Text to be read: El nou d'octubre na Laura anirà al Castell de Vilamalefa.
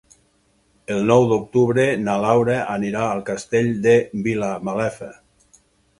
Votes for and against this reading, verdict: 6, 0, accepted